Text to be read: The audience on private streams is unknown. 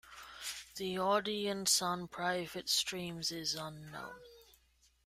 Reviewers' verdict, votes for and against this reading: rejected, 1, 2